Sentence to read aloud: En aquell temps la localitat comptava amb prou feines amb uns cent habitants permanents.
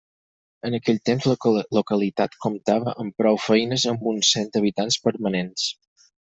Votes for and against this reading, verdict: 0, 4, rejected